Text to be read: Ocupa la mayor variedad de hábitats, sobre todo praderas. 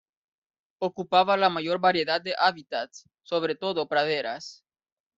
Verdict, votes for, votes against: rejected, 1, 3